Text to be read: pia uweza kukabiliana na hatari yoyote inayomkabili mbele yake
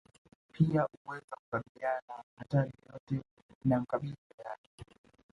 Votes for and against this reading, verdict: 1, 2, rejected